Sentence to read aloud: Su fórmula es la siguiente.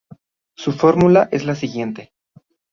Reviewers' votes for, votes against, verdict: 2, 0, accepted